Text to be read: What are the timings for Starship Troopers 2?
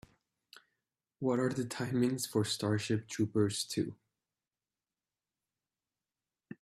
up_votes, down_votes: 0, 2